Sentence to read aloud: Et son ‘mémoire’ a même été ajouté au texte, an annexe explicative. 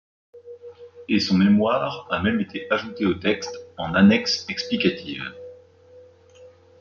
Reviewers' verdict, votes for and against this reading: accepted, 2, 0